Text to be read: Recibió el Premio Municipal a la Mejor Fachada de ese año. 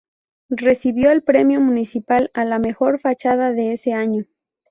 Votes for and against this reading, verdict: 2, 0, accepted